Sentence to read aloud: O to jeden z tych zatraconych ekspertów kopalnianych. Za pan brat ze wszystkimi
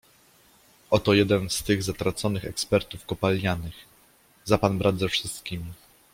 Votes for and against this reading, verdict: 2, 0, accepted